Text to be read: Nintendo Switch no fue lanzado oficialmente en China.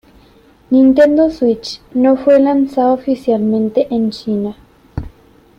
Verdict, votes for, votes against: accepted, 2, 1